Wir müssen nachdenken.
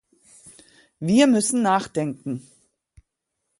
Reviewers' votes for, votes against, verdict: 2, 0, accepted